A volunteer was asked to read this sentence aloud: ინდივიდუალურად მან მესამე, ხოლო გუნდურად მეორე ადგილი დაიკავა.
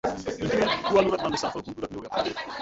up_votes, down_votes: 0, 2